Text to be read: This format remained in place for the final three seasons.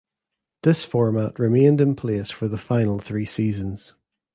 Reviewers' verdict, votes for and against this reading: accepted, 2, 0